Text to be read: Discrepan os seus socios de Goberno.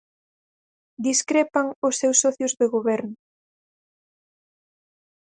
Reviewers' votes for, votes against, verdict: 4, 0, accepted